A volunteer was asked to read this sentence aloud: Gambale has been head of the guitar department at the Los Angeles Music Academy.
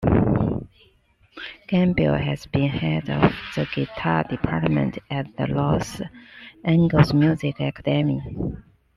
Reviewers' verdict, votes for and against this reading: accepted, 2, 1